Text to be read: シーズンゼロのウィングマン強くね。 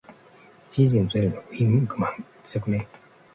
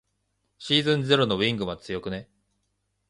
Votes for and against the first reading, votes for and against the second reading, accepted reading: 1, 2, 2, 1, second